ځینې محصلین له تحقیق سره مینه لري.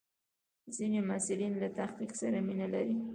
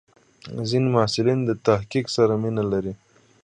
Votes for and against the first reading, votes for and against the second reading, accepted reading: 0, 2, 2, 1, second